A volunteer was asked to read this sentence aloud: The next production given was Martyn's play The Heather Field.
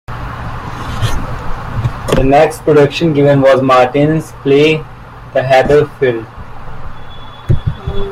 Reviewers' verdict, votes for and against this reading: rejected, 1, 2